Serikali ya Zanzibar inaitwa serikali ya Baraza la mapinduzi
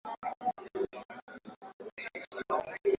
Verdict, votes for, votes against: rejected, 0, 3